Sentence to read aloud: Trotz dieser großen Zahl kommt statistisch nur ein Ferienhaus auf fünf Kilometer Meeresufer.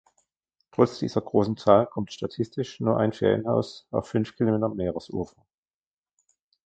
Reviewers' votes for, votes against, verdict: 0, 2, rejected